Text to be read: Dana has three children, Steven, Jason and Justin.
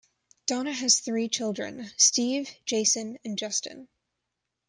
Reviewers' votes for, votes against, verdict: 1, 2, rejected